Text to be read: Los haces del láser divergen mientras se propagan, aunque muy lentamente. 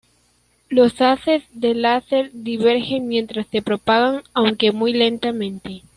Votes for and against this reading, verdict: 2, 0, accepted